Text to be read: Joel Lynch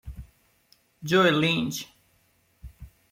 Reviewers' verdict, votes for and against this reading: accepted, 2, 0